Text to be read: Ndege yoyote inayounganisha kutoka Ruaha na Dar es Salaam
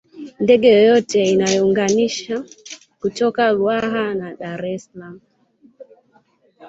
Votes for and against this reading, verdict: 2, 0, accepted